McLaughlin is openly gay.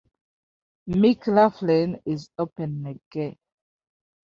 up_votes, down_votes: 1, 2